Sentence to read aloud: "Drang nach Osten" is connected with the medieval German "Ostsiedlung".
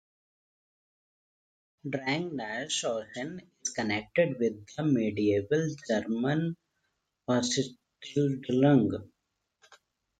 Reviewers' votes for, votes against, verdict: 0, 2, rejected